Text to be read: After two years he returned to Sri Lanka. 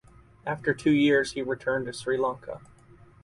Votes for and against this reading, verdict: 4, 0, accepted